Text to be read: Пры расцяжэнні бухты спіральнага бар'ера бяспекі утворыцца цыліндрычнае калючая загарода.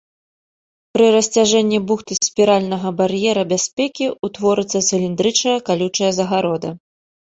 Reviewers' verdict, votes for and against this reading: rejected, 0, 2